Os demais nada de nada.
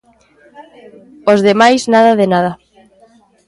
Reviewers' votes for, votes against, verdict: 0, 2, rejected